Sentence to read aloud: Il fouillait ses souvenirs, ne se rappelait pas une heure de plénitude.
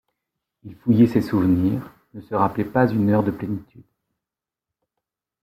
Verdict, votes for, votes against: accepted, 2, 0